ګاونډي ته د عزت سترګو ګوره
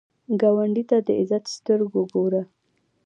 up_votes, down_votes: 2, 0